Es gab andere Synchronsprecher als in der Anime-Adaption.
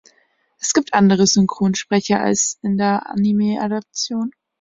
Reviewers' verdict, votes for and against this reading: rejected, 0, 2